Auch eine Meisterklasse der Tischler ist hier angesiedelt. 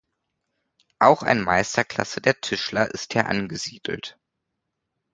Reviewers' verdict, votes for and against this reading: accepted, 2, 0